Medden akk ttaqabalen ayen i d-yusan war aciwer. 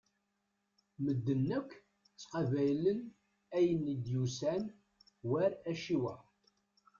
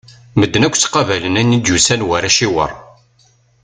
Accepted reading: second